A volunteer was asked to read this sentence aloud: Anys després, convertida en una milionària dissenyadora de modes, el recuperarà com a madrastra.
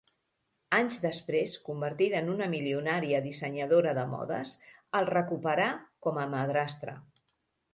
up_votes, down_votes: 0, 2